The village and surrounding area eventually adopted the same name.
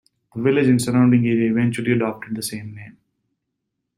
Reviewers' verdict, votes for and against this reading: rejected, 0, 2